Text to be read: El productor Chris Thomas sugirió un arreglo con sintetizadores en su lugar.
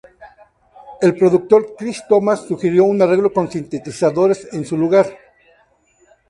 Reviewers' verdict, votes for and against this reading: accepted, 2, 0